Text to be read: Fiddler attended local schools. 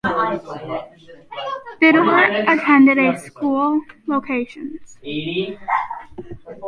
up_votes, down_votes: 0, 2